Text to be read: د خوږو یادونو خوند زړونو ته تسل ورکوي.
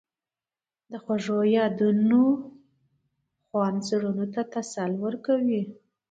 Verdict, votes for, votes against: accepted, 2, 0